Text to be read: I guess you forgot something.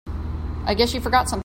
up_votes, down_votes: 0, 2